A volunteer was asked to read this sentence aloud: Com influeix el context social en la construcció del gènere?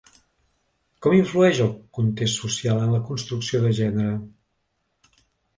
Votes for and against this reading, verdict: 0, 2, rejected